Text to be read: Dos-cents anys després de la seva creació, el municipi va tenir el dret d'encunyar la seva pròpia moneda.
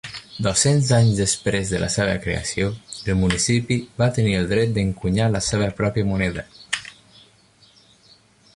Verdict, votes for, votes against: accepted, 2, 0